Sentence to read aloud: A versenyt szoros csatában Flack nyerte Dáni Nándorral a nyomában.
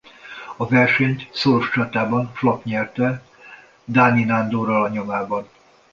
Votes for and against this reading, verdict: 2, 0, accepted